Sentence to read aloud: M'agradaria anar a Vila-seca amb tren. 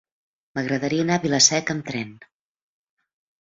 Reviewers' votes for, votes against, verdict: 2, 0, accepted